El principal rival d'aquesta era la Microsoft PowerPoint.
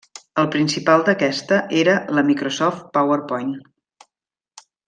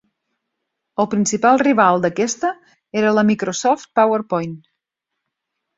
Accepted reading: second